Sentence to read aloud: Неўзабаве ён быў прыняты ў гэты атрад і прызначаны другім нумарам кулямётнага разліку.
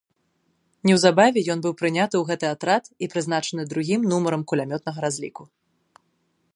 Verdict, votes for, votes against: accepted, 2, 0